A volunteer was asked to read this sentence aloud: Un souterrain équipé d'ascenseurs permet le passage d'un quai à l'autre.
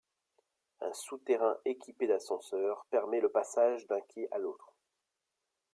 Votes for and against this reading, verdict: 2, 0, accepted